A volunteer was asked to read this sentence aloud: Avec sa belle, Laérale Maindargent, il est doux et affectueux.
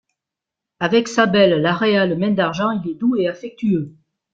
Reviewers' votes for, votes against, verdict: 2, 0, accepted